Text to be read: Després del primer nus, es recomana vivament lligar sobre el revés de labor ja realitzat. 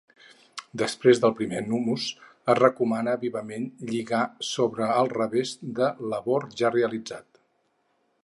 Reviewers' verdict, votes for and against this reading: rejected, 2, 4